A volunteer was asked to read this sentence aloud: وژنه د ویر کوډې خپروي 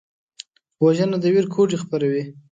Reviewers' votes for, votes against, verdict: 2, 0, accepted